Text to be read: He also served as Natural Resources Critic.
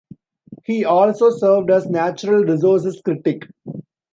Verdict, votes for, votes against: rejected, 1, 2